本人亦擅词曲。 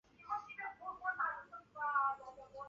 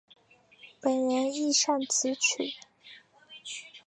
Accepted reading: second